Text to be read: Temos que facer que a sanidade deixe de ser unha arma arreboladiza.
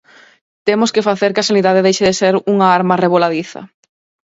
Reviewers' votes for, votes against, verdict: 2, 4, rejected